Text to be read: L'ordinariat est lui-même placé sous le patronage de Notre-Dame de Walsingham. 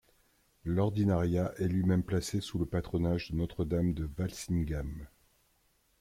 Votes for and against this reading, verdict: 0, 2, rejected